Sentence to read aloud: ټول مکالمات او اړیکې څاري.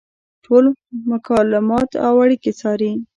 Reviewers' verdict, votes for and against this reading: rejected, 1, 2